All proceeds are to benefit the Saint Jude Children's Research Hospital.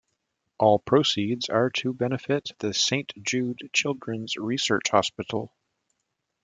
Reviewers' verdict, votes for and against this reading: rejected, 1, 2